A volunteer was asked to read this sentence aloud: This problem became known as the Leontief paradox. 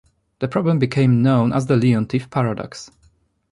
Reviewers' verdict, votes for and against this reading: accepted, 2, 0